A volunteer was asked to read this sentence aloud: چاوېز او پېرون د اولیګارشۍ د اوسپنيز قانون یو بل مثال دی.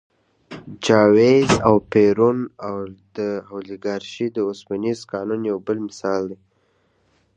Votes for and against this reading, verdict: 1, 2, rejected